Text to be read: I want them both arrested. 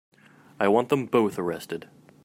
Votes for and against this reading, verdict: 2, 1, accepted